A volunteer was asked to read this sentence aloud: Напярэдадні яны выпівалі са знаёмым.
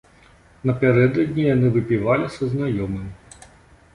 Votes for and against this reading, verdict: 2, 0, accepted